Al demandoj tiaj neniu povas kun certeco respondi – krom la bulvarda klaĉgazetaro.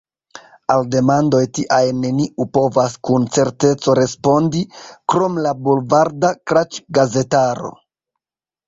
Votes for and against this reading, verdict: 0, 2, rejected